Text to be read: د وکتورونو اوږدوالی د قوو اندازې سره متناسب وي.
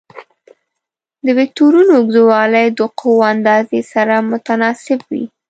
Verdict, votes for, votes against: rejected, 1, 2